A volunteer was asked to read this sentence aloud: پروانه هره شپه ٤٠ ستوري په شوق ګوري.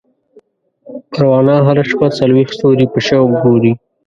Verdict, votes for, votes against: rejected, 0, 2